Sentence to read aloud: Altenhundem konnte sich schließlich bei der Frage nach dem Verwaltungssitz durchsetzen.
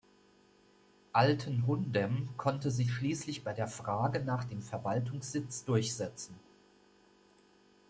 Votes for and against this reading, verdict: 2, 0, accepted